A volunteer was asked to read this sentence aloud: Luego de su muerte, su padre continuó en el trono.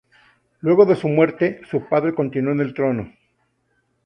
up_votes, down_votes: 2, 0